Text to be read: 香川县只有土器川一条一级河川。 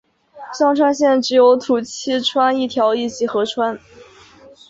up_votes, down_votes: 2, 1